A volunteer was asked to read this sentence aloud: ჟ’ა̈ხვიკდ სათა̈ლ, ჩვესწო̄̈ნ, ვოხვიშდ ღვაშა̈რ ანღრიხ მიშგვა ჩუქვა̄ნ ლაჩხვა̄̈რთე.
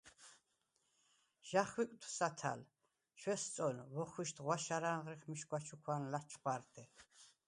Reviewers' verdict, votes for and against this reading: accepted, 4, 0